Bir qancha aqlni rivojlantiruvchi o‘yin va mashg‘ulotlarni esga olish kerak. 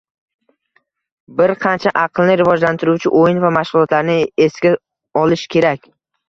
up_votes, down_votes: 2, 0